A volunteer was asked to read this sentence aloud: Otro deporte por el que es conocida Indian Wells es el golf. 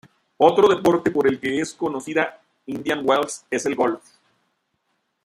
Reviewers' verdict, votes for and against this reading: rejected, 1, 2